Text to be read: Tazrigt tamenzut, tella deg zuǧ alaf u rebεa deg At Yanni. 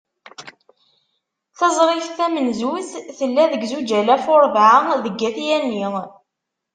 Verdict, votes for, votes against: rejected, 0, 2